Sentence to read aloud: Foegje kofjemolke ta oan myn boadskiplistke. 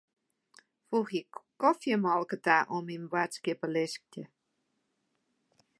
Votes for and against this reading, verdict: 0, 2, rejected